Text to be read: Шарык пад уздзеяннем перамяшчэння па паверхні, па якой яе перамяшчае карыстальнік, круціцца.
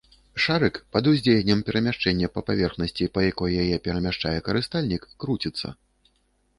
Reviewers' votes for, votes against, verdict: 0, 2, rejected